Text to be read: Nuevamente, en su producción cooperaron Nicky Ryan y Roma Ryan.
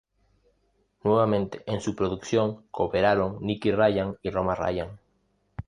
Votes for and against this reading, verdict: 2, 0, accepted